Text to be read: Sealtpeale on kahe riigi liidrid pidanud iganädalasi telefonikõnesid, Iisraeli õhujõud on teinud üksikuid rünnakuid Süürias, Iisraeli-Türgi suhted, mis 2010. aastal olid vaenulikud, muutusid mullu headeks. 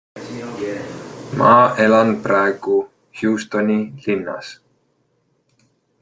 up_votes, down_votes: 0, 2